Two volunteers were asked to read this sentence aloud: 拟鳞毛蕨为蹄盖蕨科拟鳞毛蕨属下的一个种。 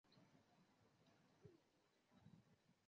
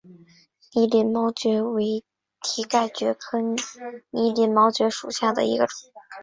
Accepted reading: second